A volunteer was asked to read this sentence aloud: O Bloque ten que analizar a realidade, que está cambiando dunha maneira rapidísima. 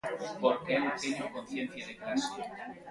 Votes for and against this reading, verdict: 0, 2, rejected